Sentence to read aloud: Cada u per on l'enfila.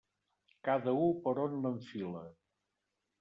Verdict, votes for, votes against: rejected, 1, 2